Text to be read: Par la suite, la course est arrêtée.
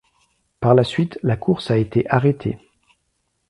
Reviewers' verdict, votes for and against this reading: rejected, 0, 2